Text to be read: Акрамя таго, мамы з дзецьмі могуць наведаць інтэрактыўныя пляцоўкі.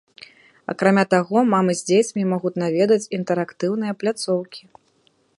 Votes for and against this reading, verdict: 2, 0, accepted